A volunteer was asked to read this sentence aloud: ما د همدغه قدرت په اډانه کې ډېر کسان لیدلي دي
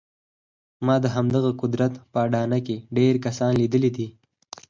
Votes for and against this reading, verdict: 4, 0, accepted